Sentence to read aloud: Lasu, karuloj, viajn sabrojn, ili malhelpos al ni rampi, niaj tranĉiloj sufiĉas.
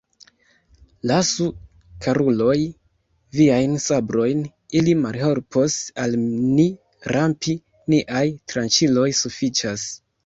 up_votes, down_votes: 1, 2